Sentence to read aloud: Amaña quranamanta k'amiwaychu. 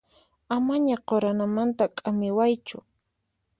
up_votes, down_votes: 4, 0